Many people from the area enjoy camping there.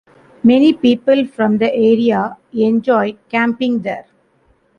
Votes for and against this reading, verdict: 2, 1, accepted